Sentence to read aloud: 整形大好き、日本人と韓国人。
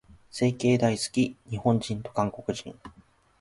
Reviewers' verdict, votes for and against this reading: accepted, 2, 0